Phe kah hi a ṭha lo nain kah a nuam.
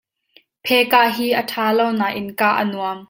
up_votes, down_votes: 2, 0